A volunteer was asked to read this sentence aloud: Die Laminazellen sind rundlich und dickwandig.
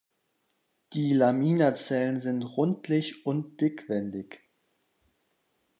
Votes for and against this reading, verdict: 0, 2, rejected